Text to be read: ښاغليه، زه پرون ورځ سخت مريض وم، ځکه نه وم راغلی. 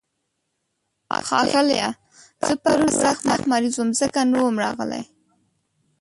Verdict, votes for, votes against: rejected, 0, 2